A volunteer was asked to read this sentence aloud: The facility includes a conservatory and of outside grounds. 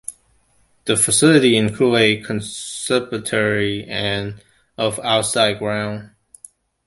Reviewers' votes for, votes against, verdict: 1, 2, rejected